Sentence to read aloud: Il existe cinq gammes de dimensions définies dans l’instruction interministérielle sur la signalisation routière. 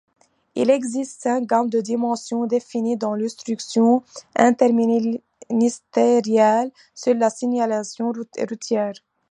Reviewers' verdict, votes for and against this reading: accepted, 2, 0